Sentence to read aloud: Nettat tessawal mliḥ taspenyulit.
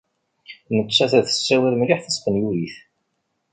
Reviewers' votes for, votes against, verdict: 1, 2, rejected